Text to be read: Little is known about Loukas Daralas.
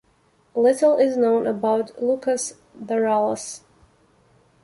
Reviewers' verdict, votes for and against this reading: accepted, 2, 1